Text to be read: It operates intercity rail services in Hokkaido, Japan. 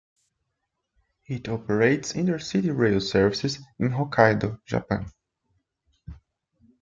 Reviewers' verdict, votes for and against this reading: rejected, 0, 2